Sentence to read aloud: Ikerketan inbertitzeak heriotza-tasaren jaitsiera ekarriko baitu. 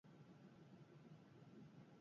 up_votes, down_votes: 0, 4